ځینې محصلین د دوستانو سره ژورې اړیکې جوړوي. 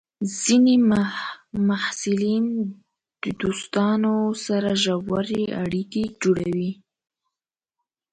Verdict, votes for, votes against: accepted, 3, 1